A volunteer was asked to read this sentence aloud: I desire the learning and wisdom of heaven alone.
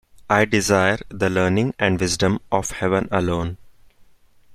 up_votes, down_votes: 1, 2